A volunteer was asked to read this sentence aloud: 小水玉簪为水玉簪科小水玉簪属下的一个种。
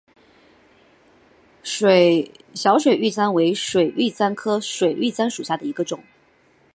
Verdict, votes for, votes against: rejected, 0, 3